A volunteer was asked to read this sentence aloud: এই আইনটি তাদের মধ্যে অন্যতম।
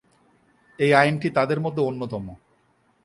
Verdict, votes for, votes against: accepted, 2, 0